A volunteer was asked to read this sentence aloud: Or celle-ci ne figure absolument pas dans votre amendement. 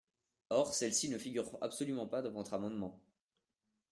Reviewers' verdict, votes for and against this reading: rejected, 0, 2